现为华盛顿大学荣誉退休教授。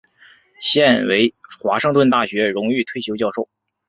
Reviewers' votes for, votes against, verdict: 4, 0, accepted